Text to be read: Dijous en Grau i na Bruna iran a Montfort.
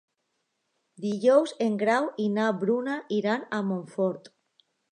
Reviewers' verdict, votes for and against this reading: accepted, 2, 0